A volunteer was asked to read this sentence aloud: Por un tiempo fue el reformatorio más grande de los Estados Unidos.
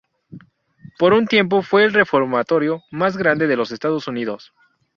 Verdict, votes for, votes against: accepted, 2, 0